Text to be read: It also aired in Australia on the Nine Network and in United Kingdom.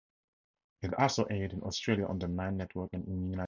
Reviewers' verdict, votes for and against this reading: rejected, 0, 4